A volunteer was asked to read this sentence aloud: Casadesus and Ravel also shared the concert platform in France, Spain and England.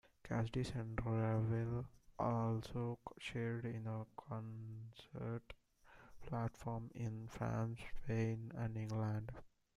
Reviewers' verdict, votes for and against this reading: rejected, 0, 2